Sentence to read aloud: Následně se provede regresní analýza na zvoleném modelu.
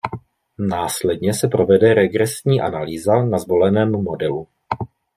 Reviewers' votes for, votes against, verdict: 2, 0, accepted